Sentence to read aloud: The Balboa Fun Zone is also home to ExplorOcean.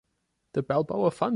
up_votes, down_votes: 0, 2